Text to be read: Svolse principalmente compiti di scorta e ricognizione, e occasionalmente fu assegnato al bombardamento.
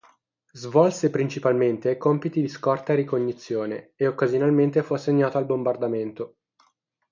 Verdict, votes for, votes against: accepted, 6, 0